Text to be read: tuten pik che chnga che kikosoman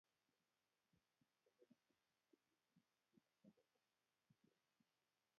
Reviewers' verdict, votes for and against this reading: rejected, 0, 2